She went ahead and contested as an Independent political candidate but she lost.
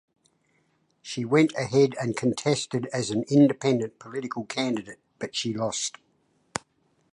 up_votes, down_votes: 2, 0